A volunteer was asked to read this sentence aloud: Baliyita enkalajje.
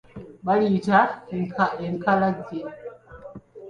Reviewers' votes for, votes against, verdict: 2, 1, accepted